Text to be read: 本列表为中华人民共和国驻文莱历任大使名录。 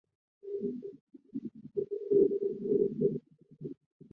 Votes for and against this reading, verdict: 0, 4, rejected